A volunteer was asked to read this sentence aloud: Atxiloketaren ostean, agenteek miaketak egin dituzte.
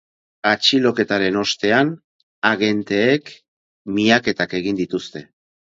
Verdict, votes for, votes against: accepted, 4, 0